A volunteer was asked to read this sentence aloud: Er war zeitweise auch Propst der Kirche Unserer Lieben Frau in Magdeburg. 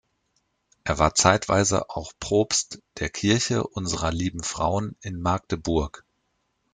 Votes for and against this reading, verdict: 0, 2, rejected